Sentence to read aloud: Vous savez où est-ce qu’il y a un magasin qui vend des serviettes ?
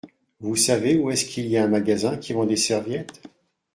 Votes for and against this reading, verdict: 2, 0, accepted